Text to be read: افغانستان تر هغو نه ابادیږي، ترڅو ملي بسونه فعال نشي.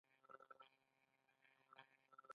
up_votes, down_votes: 1, 2